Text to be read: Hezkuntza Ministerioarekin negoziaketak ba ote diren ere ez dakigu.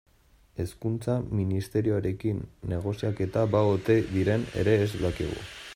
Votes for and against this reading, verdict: 0, 2, rejected